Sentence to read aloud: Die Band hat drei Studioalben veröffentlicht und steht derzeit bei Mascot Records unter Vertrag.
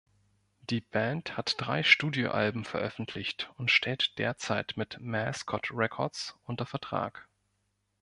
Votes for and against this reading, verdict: 1, 2, rejected